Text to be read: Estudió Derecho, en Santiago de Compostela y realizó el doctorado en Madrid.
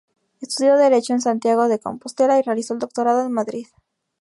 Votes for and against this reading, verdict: 4, 0, accepted